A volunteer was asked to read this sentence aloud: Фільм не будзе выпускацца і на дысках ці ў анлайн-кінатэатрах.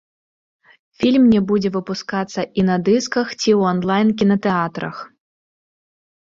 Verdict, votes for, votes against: accepted, 2, 0